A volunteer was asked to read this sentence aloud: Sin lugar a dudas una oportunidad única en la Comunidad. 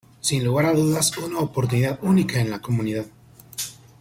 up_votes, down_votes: 1, 2